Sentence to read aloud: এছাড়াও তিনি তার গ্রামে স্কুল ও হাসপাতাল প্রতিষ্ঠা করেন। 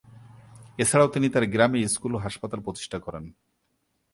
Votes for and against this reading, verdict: 1, 2, rejected